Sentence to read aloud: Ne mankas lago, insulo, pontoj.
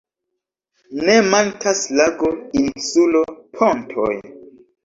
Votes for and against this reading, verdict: 2, 1, accepted